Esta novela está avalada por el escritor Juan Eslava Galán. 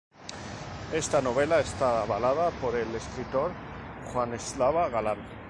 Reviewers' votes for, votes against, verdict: 0, 2, rejected